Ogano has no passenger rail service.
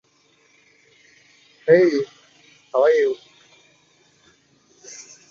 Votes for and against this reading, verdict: 0, 2, rejected